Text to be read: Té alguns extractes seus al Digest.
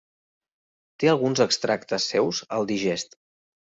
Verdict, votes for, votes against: accepted, 3, 0